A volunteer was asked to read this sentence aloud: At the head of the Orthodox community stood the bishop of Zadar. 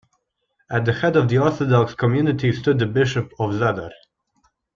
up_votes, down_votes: 3, 0